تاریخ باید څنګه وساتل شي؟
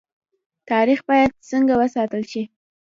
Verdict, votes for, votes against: accepted, 2, 0